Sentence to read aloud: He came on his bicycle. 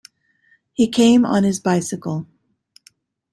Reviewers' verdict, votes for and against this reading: accepted, 2, 0